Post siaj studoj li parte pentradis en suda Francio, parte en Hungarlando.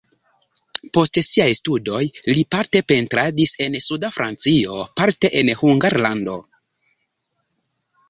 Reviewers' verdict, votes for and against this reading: rejected, 0, 2